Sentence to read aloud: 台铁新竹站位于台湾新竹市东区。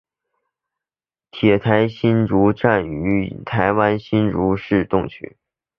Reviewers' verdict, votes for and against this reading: accepted, 2, 0